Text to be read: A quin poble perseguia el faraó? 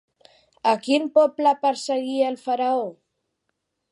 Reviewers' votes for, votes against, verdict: 2, 0, accepted